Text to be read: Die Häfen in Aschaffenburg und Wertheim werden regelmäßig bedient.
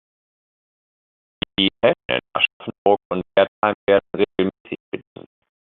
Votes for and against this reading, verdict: 0, 2, rejected